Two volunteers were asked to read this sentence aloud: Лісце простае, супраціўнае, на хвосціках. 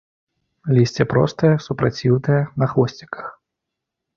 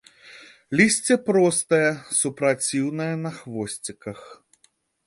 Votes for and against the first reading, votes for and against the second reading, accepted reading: 1, 2, 2, 0, second